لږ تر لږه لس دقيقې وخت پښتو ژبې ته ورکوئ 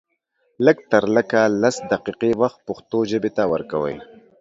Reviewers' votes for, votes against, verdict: 2, 0, accepted